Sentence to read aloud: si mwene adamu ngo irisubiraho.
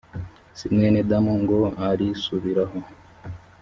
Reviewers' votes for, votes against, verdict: 0, 2, rejected